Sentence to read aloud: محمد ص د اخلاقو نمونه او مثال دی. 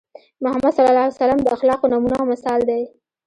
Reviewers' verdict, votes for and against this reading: accepted, 2, 0